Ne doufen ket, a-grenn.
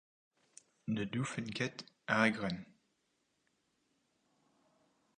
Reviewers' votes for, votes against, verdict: 0, 4, rejected